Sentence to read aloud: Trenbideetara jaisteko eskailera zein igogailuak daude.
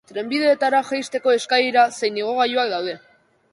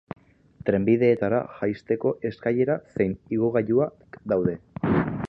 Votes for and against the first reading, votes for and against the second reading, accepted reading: 2, 0, 1, 2, first